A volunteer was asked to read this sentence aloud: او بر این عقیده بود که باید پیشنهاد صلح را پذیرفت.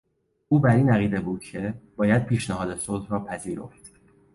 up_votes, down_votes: 2, 0